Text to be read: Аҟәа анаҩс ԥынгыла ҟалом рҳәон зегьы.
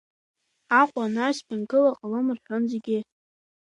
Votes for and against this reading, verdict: 2, 0, accepted